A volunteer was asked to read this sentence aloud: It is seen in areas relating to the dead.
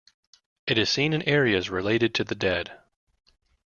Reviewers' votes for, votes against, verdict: 1, 2, rejected